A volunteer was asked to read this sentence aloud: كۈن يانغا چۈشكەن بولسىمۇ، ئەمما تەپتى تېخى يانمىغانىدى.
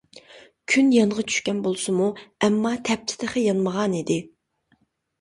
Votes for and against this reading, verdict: 2, 0, accepted